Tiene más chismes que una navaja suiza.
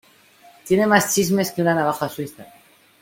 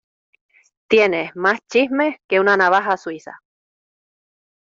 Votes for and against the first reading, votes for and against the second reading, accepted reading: 2, 1, 1, 2, first